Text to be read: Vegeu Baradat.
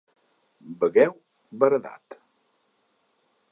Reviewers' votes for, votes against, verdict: 1, 2, rejected